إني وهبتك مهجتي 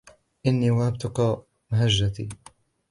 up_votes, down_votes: 0, 2